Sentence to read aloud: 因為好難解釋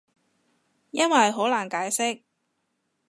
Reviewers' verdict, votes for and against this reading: accepted, 2, 0